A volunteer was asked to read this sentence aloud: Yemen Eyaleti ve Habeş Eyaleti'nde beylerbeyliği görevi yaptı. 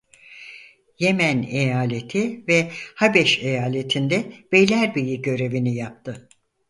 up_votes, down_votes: 0, 4